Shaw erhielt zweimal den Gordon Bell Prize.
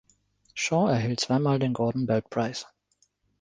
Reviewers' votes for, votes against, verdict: 2, 0, accepted